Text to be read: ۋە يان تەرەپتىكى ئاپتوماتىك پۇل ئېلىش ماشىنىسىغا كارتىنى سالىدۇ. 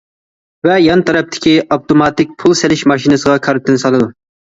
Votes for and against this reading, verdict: 1, 2, rejected